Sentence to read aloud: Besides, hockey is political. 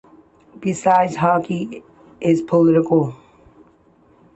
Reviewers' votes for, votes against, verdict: 2, 0, accepted